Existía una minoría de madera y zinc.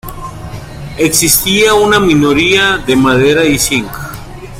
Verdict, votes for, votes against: accepted, 2, 0